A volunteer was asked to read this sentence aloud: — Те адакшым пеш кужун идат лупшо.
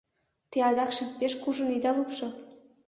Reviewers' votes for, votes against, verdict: 2, 1, accepted